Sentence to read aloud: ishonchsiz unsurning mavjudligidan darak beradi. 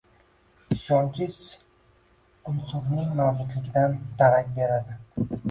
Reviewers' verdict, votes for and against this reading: rejected, 0, 2